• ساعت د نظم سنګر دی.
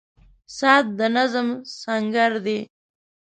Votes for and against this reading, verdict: 2, 0, accepted